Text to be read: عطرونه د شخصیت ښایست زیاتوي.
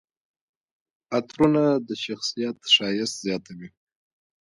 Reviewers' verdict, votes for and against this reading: accepted, 3, 1